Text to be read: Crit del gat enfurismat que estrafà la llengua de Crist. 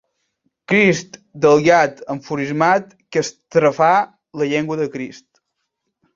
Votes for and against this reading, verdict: 1, 2, rejected